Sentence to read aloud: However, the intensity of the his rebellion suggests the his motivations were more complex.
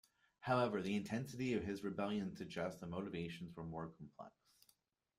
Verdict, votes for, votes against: rejected, 1, 2